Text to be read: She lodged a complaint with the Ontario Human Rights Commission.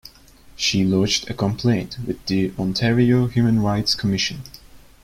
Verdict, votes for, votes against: accepted, 2, 0